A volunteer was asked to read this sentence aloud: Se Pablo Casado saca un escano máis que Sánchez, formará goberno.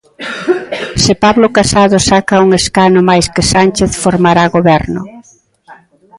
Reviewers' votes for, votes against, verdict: 0, 2, rejected